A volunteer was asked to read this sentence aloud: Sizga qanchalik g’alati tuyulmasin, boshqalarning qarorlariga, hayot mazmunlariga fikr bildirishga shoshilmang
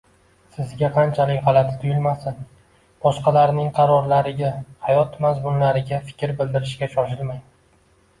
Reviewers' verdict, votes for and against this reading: accepted, 2, 0